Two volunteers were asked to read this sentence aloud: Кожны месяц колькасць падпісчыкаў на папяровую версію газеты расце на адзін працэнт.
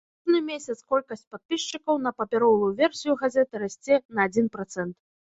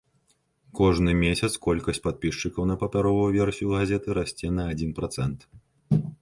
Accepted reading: second